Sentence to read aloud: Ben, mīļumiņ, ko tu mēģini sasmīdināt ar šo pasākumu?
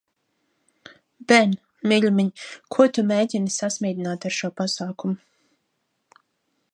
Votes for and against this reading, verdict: 2, 0, accepted